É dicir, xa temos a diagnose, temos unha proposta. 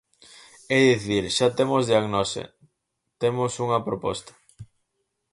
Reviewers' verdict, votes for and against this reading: rejected, 0, 4